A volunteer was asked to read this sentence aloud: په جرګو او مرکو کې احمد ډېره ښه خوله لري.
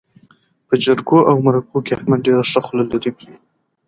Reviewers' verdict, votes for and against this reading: accepted, 2, 0